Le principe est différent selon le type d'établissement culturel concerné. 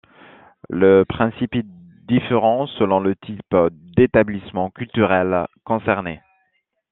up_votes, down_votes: 1, 2